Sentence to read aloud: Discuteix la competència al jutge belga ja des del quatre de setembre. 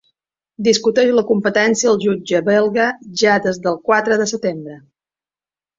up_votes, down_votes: 3, 0